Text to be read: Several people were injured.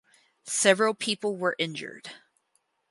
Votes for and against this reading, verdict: 4, 0, accepted